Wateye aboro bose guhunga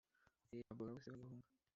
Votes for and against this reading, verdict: 1, 2, rejected